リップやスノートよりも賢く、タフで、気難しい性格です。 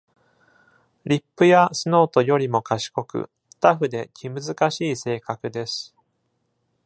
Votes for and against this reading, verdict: 2, 0, accepted